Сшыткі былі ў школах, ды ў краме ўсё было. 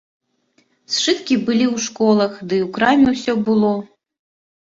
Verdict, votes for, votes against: accepted, 2, 1